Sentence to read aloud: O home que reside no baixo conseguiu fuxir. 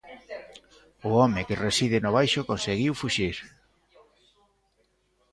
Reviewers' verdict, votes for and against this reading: rejected, 0, 2